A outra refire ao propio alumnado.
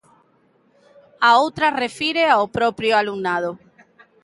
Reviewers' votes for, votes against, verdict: 0, 2, rejected